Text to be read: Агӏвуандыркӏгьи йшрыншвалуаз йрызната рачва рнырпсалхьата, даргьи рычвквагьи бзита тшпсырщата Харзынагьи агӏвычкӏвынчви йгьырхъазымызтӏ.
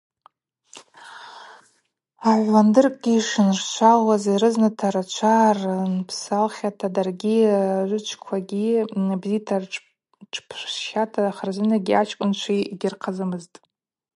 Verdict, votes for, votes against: rejected, 0, 4